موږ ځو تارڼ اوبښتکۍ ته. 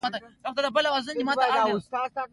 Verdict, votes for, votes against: accepted, 2, 1